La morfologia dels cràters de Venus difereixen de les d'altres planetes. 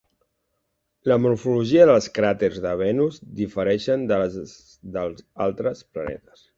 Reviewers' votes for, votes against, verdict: 1, 2, rejected